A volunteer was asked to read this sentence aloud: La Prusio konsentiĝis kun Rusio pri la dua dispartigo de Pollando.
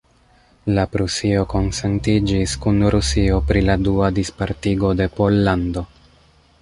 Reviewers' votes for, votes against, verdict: 1, 2, rejected